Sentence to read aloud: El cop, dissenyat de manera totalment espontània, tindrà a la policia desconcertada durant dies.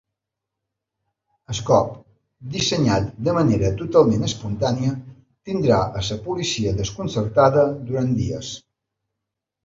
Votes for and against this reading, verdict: 1, 3, rejected